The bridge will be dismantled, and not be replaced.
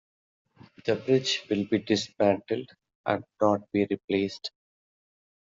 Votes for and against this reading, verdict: 2, 0, accepted